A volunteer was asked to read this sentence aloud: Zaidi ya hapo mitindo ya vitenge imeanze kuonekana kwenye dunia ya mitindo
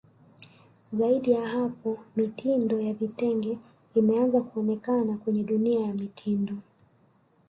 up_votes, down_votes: 0, 2